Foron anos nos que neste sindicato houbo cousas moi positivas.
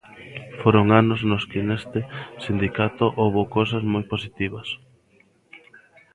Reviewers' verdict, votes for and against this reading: accepted, 2, 0